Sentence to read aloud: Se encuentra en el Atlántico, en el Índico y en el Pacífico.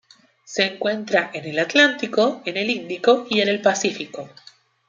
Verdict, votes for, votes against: accepted, 2, 0